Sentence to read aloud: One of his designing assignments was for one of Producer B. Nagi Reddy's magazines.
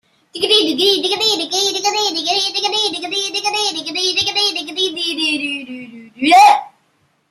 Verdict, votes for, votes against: rejected, 0, 2